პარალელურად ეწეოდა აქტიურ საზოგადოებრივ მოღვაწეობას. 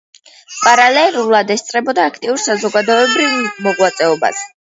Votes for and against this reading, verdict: 0, 2, rejected